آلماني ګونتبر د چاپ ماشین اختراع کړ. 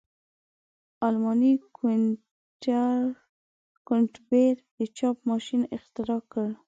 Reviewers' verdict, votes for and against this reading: rejected, 1, 2